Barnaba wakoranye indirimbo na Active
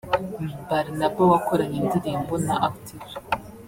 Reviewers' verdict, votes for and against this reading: rejected, 0, 2